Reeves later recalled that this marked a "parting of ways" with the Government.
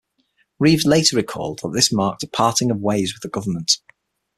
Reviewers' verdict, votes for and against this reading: accepted, 6, 0